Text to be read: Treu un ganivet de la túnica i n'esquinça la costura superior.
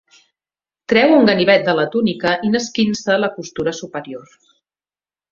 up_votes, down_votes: 2, 0